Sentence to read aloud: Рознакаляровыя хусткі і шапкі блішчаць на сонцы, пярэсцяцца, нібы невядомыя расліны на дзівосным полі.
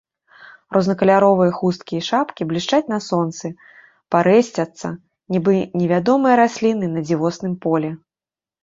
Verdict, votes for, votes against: rejected, 0, 2